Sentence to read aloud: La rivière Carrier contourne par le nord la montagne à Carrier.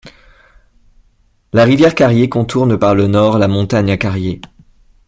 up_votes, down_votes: 2, 0